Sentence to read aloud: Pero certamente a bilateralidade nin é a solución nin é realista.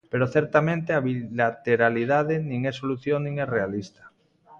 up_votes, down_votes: 1, 2